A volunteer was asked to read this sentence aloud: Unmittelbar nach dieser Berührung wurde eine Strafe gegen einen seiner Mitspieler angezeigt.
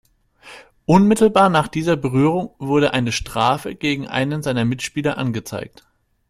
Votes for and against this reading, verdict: 2, 0, accepted